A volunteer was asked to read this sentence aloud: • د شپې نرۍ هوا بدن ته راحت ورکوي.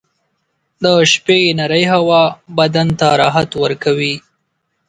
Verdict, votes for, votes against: accepted, 8, 0